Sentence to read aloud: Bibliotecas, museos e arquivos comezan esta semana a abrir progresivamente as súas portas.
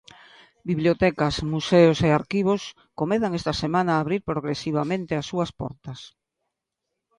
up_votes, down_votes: 2, 1